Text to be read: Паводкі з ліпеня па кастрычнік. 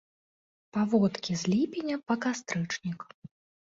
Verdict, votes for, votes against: accepted, 2, 0